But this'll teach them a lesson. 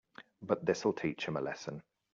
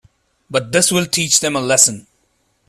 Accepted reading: first